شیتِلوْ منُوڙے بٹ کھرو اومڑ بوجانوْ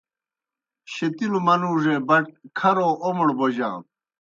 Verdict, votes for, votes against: accepted, 2, 0